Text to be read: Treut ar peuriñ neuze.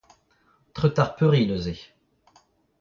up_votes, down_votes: 0, 2